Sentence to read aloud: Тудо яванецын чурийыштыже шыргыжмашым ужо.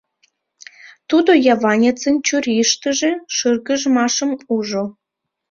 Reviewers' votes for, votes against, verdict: 2, 0, accepted